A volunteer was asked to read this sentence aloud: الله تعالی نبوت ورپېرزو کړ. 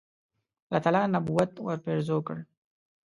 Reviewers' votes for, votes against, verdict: 2, 0, accepted